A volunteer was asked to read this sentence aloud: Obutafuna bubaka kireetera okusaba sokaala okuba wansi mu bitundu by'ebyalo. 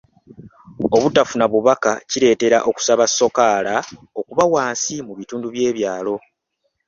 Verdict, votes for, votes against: accepted, 3, 0